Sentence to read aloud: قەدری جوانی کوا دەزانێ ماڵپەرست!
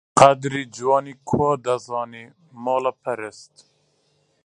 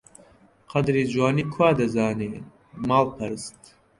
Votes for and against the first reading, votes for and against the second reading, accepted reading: 0, 2, 2, 0, second